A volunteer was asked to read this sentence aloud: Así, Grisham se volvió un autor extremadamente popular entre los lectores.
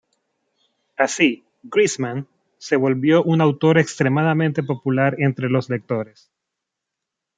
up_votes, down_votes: 0, 2